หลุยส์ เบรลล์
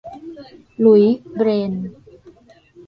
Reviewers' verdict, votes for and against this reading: rejected, 1, 2